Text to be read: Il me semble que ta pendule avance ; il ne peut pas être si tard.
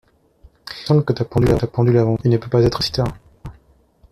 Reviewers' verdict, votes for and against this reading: rejected, 0, 2